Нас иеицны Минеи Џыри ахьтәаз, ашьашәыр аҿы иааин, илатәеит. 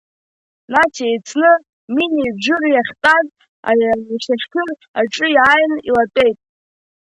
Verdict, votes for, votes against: rejected, 0, 2